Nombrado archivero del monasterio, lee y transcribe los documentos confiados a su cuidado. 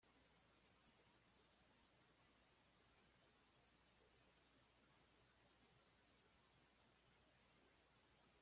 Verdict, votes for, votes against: rejected, 1, 2